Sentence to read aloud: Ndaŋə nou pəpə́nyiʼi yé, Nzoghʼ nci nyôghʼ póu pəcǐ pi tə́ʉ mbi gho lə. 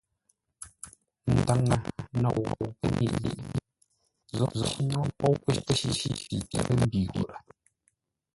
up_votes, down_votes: 1, 2